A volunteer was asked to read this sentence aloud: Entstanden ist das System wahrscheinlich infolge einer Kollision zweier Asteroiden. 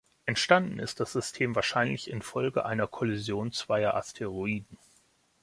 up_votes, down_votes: 2, 0